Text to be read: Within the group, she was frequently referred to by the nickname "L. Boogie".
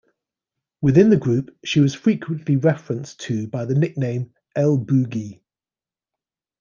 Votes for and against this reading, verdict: 0, 2, rejected